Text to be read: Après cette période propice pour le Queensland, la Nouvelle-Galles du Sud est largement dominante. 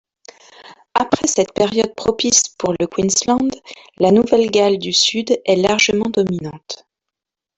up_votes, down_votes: 1, 2